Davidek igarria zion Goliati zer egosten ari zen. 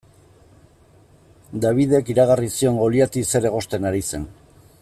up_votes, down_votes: 0, 2